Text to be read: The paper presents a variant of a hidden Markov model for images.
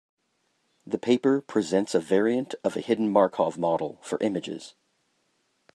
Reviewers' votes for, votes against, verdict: 2, 0, accepted